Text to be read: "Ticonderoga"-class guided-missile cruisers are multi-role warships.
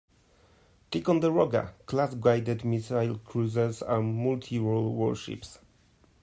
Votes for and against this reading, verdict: 1, 2, rejected